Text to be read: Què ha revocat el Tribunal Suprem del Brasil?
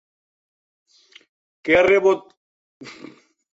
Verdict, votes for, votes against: rejected, 0, 2